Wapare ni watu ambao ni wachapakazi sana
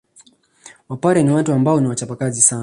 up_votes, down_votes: 2, 0